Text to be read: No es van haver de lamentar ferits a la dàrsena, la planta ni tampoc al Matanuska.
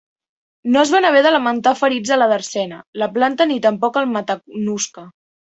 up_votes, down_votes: 2, 3